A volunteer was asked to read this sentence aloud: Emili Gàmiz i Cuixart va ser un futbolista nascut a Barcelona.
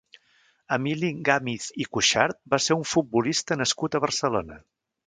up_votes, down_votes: 1, 2